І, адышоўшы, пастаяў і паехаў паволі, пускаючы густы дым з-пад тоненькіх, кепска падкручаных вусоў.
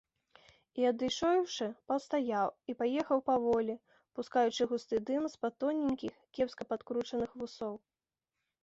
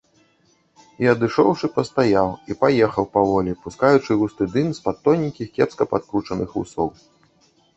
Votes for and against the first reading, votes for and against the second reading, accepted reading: 2, 0, 1, 2, first